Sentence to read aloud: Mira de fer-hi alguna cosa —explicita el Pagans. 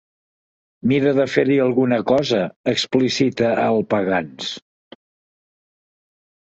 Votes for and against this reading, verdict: 3, 0, accepted